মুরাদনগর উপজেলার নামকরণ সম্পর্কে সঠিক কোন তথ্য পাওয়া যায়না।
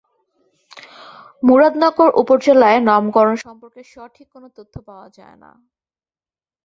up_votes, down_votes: 0, 2